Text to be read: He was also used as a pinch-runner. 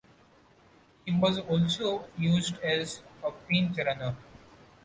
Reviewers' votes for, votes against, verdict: 2, 0, accepted